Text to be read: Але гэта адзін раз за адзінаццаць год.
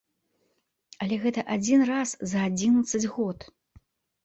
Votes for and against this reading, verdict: 1, 2, rejected